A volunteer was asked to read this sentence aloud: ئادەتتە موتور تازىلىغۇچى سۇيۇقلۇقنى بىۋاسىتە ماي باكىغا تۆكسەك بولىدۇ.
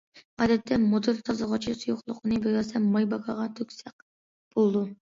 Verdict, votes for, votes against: rejected, 1, 2